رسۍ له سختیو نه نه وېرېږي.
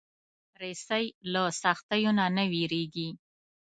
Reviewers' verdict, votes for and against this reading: accepted, 2, 0